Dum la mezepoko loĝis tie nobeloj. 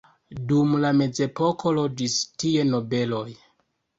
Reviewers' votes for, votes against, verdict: 2, 0, accepted